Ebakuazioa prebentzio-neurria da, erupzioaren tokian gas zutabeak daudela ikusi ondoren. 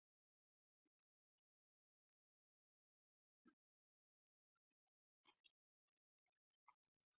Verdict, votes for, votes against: rejected, 0, 3